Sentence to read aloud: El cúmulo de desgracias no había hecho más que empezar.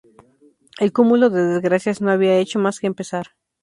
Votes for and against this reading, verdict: 2, 0, accepted